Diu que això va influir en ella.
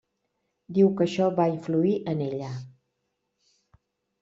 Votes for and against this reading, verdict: 3, 0, accepted